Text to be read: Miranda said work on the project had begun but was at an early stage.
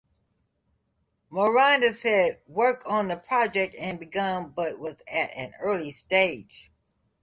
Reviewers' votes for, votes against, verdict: 2, 0, accepted